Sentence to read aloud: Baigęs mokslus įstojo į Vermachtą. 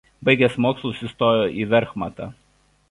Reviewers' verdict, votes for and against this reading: rejected, 1, 2